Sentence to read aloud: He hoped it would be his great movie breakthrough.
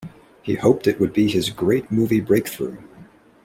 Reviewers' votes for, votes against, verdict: 2, 0, accepted